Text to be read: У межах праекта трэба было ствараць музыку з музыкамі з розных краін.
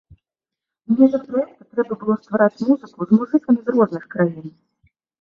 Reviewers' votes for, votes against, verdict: 1, 2, rejected